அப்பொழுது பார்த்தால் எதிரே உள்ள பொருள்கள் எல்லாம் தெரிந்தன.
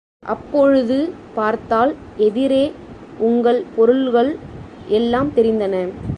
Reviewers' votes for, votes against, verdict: 0, 2, rejected